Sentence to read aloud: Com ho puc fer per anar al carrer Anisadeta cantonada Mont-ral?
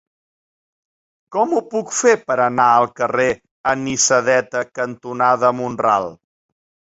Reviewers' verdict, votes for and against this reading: accepted, 2, 0